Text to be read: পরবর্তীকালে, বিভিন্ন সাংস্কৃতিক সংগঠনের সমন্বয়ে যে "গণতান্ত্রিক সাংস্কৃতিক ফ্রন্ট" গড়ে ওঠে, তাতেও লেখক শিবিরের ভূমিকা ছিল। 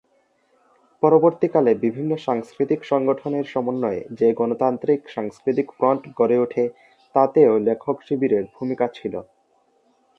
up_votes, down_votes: 3, 0